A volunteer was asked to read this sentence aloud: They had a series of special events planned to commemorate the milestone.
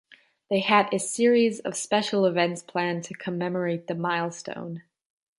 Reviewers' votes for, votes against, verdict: 2, 0, accepted